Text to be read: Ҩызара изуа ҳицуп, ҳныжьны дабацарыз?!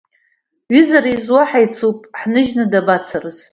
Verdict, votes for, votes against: accepted, 2, 0